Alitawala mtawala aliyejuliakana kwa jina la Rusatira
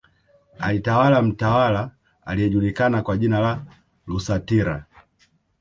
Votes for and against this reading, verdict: 1, 2, rejected